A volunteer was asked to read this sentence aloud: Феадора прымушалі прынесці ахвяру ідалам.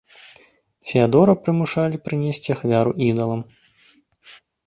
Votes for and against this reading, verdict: 2, 0, accepted